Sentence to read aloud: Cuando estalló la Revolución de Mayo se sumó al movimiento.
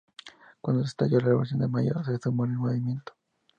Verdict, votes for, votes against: rejected, 0, 2